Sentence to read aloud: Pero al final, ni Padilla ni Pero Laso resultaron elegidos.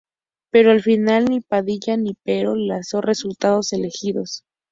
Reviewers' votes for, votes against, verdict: 0, 2, rejected